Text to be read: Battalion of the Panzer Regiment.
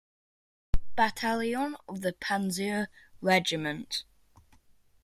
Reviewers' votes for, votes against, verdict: 2, 1, accepted